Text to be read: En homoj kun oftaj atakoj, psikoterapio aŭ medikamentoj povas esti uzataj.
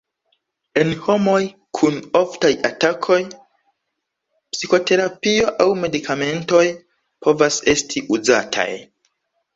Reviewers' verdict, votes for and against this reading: accepted, 2, 1